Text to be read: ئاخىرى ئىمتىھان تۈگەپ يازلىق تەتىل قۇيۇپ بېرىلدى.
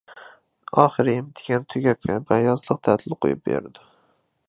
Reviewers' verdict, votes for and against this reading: rejected, 0, 2